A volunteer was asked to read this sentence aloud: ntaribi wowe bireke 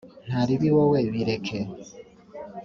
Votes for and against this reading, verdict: 6, 0, accepted